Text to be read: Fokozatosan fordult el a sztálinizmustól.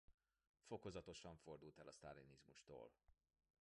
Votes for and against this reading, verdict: 2, 0, accepted